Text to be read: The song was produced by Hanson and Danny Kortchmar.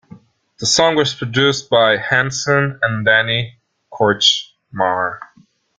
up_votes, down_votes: 1, 2